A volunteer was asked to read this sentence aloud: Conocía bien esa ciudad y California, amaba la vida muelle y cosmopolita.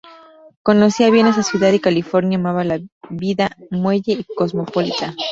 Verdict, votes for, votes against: rejected, 0, 2